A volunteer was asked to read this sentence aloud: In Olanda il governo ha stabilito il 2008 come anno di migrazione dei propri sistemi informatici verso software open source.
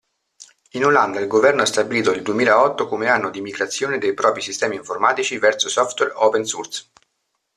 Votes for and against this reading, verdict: 0, 2, rejected